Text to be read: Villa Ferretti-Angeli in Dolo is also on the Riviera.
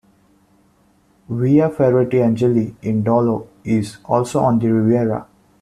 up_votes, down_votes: 2, 1